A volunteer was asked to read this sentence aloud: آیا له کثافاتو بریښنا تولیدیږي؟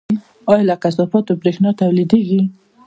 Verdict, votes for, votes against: rejected, 1, 2